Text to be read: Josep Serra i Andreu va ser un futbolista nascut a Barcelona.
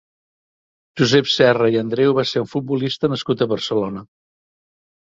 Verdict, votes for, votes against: accepted, 3, 0